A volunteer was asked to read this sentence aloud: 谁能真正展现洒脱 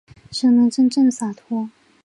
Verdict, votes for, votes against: rejected, 1, 4